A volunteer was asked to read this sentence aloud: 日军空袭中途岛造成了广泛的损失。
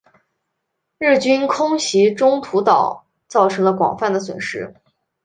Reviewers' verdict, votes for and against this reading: accepted, 3, 0